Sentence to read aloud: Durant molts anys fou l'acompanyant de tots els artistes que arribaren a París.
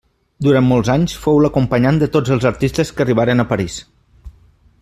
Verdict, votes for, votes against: accepted, 3, 0